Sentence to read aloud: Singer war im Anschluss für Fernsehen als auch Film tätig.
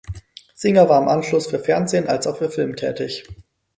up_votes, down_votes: 2, 4